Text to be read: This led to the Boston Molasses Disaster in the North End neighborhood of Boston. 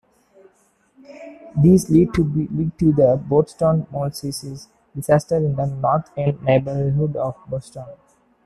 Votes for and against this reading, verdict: 0, 2, rejected